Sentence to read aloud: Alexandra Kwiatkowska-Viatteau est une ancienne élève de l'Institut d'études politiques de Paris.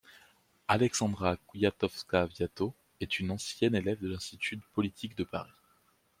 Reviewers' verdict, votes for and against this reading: rejected, 1, 2